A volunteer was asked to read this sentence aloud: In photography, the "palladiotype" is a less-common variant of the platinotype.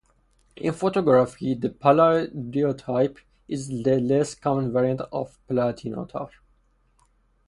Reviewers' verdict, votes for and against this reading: accepted, 4, 0